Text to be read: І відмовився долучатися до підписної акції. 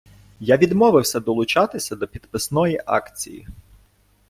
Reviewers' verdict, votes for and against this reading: rejected, 0, 2